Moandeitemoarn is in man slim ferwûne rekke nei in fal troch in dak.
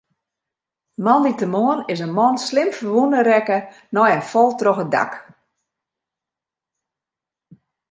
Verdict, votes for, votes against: accepted, 2, 0